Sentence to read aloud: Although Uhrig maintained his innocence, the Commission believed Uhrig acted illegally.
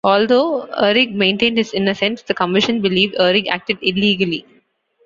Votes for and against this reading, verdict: 2, 0, accepted